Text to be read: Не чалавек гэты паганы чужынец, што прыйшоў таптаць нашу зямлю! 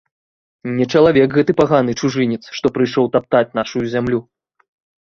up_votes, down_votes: 2, 0